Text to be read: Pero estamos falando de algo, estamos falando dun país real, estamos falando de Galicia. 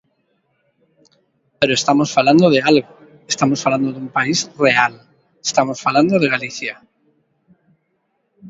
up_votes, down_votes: 2, 1